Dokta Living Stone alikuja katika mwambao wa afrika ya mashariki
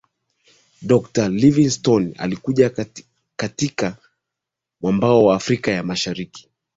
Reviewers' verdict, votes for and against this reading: accepted, 2, 0